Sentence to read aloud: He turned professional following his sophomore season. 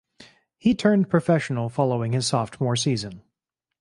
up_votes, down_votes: 2, 2